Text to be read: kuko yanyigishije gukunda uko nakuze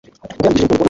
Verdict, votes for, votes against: accepted, 2, 0